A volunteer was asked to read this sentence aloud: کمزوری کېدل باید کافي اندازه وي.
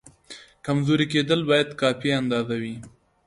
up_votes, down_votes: 2, 0